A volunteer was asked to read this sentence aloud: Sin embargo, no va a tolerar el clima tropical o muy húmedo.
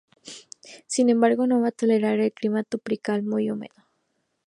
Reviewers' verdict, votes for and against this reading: rejected, 0, 2